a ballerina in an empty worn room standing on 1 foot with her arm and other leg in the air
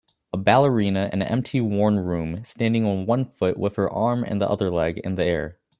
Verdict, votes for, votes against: rejected, 0, 2